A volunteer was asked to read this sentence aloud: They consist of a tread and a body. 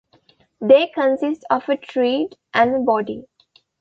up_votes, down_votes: 2, 0